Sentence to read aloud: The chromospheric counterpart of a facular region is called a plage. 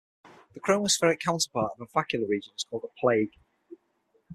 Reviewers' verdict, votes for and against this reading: rejected, 0, 6